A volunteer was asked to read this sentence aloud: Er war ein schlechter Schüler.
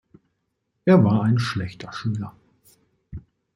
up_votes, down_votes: 2, 0